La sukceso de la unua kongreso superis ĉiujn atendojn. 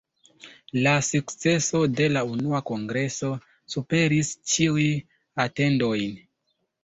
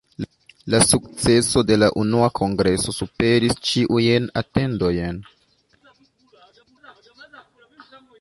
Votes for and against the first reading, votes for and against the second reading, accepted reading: 1, 2, 2, 0, second